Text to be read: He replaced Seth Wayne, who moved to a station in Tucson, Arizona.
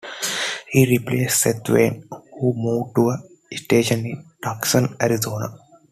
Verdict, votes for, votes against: accepted, 2, 1